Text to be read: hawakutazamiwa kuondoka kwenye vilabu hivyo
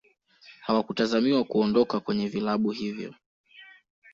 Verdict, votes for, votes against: rejected, 0, 2